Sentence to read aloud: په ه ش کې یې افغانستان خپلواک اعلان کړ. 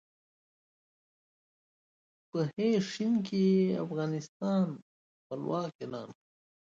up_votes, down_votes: 2, 1